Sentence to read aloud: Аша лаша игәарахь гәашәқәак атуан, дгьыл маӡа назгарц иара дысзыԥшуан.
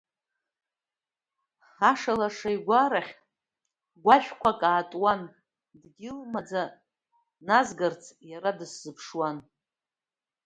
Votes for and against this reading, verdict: 2, 0, accepted